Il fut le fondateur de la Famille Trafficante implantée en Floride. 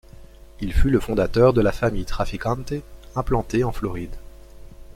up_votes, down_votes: 1, 2